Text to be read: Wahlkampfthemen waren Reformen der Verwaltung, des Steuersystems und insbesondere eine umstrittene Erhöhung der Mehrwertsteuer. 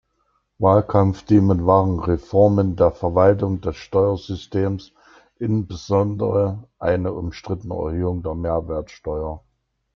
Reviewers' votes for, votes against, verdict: 0, 2, rejected